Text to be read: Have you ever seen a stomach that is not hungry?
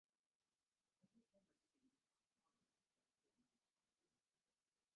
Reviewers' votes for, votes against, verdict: 0, 2, rejected